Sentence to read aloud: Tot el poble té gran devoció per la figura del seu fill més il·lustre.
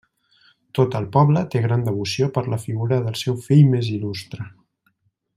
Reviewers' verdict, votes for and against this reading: accepted, 2, 0